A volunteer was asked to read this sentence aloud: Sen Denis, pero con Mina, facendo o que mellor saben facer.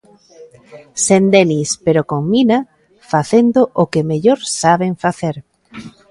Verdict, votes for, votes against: accepted, 3, 0